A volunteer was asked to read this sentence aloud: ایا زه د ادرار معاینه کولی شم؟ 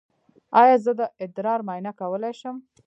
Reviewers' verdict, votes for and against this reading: rejected, 0, 2